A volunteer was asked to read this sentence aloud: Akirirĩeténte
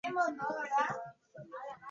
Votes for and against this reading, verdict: 1, 2, rejected